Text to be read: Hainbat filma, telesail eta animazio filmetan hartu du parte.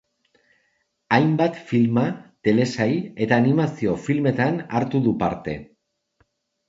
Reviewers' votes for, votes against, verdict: 2, 0, accepted